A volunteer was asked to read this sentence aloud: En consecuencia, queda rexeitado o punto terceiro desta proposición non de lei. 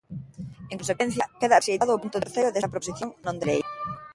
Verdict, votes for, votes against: rejected, 0, 2